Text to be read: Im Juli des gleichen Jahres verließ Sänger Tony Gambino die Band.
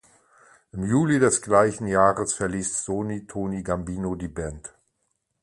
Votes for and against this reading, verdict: 0, 2, rejected